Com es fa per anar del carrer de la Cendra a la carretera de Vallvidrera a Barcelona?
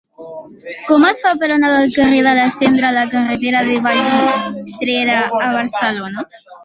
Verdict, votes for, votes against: rejected, 0, 3